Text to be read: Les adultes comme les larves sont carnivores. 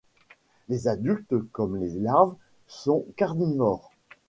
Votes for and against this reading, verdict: 1, 2, rejected